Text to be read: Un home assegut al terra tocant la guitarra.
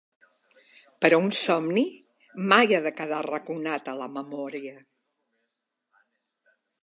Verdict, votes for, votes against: rejected, 0, 3